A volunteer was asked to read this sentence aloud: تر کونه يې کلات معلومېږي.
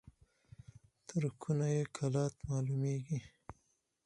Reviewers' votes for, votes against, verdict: 4, 0, accepted